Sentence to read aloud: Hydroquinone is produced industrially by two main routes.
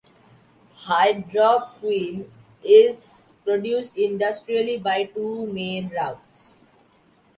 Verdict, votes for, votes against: rejected, 1, 2